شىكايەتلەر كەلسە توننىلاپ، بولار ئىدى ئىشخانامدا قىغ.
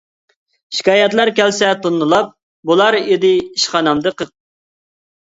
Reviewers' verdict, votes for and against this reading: rejected, 0, 2